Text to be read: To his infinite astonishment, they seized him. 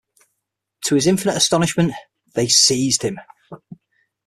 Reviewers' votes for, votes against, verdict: 6, 0, accepted